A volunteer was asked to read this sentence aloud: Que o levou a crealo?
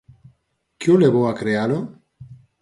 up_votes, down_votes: 4, 0